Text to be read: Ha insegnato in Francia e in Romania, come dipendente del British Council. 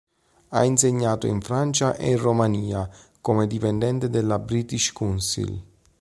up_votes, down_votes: 0, 2